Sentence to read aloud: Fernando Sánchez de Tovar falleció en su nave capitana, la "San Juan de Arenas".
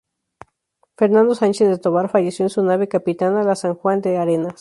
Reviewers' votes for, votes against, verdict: 2, 0, accepted